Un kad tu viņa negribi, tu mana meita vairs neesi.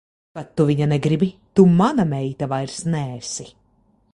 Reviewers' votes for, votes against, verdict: 0, 2, rejected